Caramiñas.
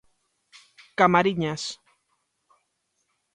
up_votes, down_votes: 0, 2